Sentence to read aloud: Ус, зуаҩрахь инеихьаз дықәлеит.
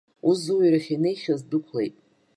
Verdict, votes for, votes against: accepted, 2, 0